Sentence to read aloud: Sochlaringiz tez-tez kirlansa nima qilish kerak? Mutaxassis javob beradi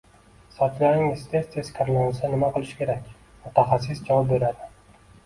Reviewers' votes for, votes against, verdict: 2, 0, accepted